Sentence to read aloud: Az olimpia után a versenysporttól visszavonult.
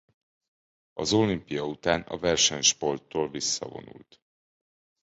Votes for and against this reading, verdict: 2, 0, accepted